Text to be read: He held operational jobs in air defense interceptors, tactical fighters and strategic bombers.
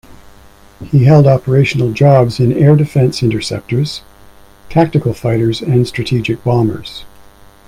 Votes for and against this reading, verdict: 2, 0, accepted